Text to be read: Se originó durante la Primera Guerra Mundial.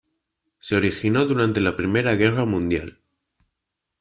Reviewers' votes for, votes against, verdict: 2, 0, accepted